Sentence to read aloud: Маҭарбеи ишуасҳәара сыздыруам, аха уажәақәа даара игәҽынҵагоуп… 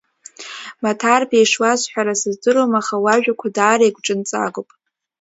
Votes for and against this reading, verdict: 2, 1, accepted